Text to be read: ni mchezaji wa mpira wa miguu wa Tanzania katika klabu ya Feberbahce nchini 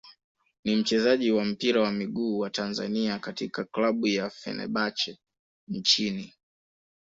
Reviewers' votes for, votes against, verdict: 1, 2, rejected